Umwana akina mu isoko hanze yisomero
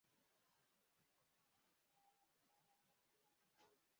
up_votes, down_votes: 0, 2